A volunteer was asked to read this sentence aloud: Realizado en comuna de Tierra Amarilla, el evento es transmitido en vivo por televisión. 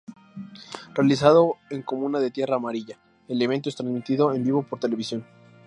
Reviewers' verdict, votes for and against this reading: accepted, 2, 0